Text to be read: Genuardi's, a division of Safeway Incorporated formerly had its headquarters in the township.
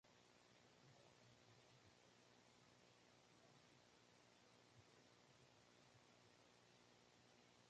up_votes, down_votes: 0, 2